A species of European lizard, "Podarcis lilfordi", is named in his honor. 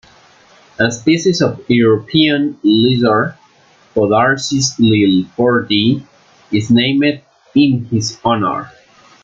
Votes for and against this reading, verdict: 1, 2, rejected